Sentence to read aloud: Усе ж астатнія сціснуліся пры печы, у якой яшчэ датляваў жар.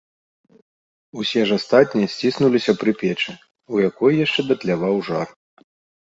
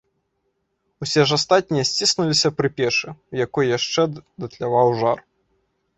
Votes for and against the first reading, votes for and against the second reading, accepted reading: 2, 0, 0, 2, first